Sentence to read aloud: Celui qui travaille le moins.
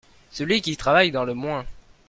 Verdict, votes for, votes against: rejected, 0, 2